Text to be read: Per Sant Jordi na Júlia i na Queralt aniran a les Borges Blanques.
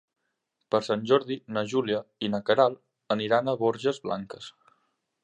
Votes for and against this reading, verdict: 2, 3, rejected